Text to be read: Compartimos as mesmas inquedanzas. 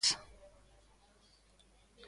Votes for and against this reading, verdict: 0, 2, rejected